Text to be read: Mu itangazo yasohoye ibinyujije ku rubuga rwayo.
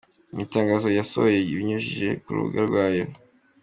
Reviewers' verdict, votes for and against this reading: accepted, 2, 0